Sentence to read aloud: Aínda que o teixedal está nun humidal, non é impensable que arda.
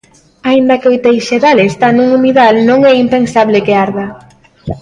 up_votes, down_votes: 0, 2